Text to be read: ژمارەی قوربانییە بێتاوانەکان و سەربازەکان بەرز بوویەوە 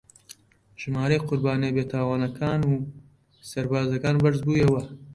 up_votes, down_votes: 1, 2